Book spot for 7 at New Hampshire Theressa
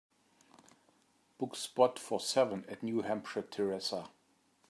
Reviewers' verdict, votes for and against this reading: rejected, 0, 2